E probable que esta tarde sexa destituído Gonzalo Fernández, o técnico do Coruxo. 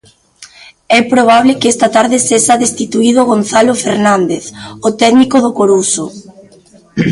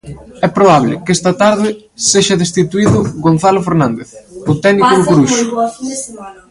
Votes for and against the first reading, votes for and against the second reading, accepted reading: 2, 0, 0, 2, first